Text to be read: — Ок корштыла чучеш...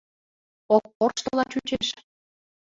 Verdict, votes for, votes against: accepted, 2, 1